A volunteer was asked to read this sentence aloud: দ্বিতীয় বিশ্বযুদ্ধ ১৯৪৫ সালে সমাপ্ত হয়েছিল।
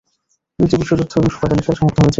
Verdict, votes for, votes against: rejected, 0, 2